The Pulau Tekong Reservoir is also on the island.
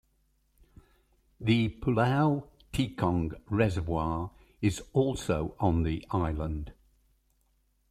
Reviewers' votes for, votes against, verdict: 1, 2, rejected